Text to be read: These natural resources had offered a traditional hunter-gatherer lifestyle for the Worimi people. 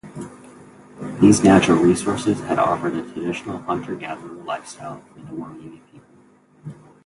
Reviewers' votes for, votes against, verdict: 0, 2, rejected